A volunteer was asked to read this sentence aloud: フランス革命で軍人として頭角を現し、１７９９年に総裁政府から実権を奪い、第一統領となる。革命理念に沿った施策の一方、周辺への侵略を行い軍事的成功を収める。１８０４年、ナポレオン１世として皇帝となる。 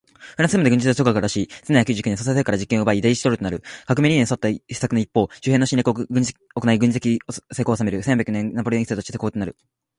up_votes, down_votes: 0, 2